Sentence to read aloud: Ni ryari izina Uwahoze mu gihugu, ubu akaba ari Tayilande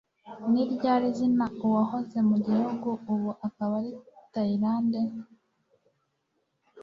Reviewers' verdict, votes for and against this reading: accepted, 2, 1